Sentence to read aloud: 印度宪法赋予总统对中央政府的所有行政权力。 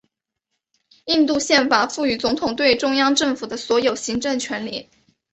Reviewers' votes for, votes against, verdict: 2, 1, accepted